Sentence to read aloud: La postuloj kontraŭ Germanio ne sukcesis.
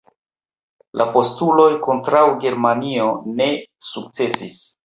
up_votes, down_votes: 0, 2